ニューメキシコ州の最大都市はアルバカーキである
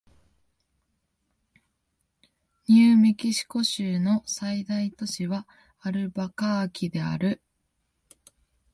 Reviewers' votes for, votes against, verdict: 2, 1, accepted